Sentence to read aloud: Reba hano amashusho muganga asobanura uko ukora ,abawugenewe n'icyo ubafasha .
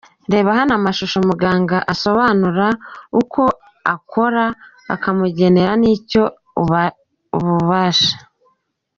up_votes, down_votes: 0, 2